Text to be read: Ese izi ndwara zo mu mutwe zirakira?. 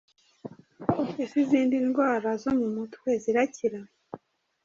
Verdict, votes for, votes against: rejected, 1, 2